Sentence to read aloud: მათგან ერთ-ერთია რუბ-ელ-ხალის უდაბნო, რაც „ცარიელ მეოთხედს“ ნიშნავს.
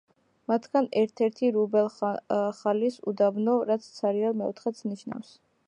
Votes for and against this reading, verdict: 2, 1, accepted